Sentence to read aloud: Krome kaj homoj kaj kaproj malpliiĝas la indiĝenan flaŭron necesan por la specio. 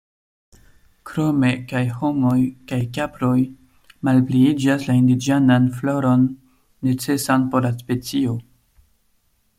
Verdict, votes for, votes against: rejected, 0, 2